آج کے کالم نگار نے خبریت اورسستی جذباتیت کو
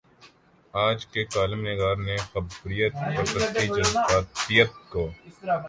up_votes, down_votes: 1, 2